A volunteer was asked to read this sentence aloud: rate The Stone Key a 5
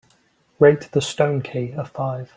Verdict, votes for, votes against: rejected, 0, 2